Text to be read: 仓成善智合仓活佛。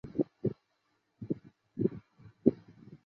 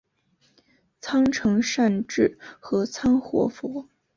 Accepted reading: second